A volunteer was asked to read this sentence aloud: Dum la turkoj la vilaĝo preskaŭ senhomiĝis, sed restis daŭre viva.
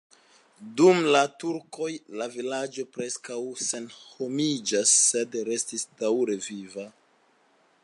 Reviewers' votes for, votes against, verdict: 1, 2, rejected